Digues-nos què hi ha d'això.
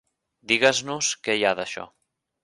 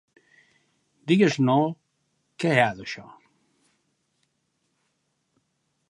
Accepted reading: first